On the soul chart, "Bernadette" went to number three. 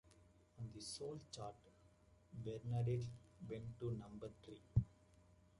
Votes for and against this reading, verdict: 0, 2, rejected